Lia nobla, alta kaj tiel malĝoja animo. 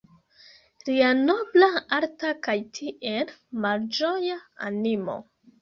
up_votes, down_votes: 1, 2